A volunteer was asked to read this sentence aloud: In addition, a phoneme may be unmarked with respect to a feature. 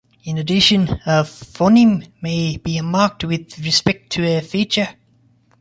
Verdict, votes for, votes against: rejected, 1, 2